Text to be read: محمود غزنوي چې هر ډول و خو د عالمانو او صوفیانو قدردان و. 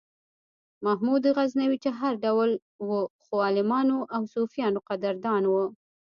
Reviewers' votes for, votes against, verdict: 2, 0, accepted